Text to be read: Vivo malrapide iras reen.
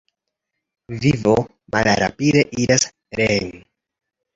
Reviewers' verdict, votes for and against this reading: accepted, 2, 1